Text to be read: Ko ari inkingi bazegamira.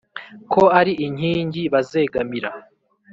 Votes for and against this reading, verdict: 3, 0, accepted